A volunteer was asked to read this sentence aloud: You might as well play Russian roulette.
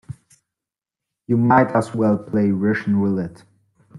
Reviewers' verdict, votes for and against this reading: accepted, 2, 0